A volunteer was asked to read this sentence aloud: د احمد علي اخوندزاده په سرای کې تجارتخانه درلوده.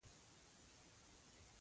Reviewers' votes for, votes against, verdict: 0, 2, rejected